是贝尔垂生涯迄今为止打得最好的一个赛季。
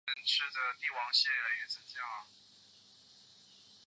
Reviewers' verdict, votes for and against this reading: rejected, 0, 2